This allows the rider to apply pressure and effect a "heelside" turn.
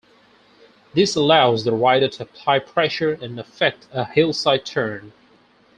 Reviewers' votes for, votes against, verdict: 0, 6, rejected